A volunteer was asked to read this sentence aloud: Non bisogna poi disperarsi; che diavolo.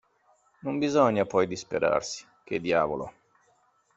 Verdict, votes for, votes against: accepted, 2, 0